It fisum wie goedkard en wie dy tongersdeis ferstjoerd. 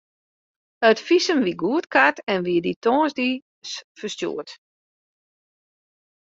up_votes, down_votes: 2, 0